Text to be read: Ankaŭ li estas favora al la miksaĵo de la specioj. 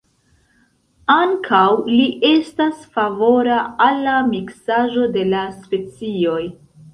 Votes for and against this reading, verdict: 2, 0, accepted